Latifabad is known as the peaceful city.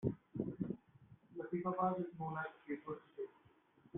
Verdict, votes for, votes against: rejected, 0, 2